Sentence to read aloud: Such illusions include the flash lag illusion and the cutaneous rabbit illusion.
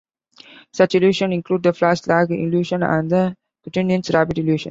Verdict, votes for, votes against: rejected, 0, 2